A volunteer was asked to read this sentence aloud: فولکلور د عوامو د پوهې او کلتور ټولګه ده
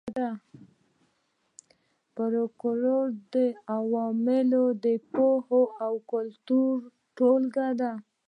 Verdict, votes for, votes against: accepted, 2, 0